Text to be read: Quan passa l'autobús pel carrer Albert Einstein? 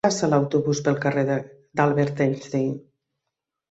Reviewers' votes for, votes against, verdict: 0, 3, rejected